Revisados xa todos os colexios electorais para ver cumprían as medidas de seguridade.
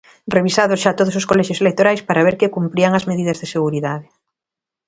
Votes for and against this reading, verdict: 1, 2, rejected